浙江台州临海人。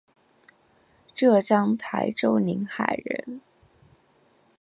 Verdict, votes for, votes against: accepted, 3, 0